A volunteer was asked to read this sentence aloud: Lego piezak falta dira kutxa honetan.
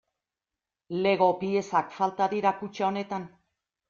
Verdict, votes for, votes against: accepted, 2, 0